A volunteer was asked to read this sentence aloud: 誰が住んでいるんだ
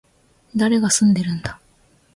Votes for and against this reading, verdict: 2, 1, accepted